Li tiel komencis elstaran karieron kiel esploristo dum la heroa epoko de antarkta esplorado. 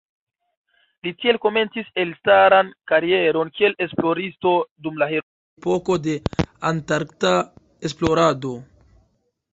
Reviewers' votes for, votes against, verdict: 0, 2, rejected